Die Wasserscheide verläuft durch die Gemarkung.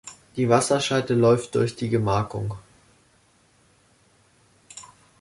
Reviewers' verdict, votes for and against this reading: rejected, 1, 2